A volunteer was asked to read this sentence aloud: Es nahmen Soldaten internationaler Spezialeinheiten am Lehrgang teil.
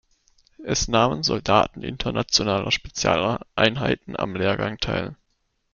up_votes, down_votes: 1, 2